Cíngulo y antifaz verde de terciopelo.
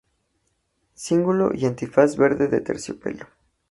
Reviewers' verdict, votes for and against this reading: accepted, 2, 0